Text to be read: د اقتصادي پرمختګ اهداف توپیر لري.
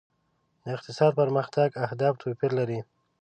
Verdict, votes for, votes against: rejected, 1, 2